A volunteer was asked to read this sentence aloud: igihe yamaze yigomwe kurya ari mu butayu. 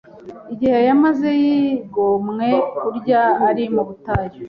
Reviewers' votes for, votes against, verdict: 3, 0, accepted